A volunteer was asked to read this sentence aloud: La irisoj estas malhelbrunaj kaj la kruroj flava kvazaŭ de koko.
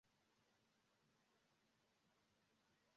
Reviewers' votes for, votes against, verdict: 0, 2, rejected